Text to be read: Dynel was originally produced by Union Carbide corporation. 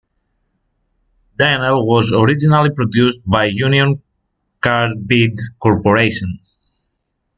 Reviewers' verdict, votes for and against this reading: accepted, 2, 0